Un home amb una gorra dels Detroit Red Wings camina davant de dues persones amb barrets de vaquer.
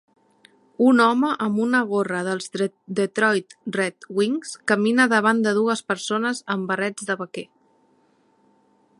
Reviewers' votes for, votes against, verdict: 2, 0, accepted